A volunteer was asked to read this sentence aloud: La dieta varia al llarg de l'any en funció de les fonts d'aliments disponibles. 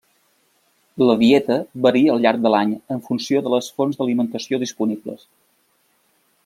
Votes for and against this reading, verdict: 0, 2, rejected